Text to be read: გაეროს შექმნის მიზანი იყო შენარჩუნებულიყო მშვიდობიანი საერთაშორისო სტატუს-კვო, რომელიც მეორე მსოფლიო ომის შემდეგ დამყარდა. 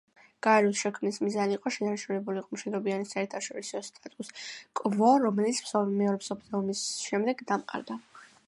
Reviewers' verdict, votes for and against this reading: accepted, 2, 0